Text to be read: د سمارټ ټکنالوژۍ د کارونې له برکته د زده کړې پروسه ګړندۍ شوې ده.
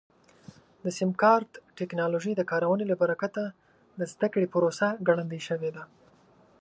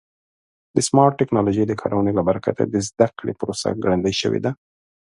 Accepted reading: second